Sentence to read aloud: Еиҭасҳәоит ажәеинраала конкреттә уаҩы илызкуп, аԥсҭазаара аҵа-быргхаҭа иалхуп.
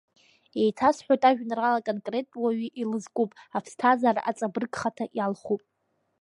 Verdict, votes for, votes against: rejected, 1, 2